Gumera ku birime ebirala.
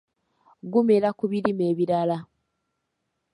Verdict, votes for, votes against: accepted, 2, 0